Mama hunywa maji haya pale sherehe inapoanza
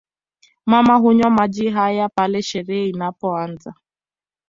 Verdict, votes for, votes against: accepted, 2, 0